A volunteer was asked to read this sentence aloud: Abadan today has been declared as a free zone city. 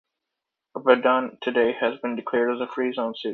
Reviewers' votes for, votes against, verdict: 2, 1, accepted